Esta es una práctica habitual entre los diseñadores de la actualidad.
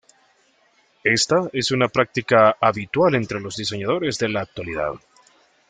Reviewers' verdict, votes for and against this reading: accepted, 2, 0